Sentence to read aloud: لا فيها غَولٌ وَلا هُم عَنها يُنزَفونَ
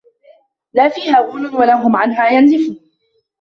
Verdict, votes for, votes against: rejected, 0, 2